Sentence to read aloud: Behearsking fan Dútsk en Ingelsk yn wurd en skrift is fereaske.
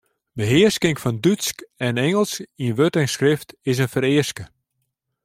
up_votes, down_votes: 0, 2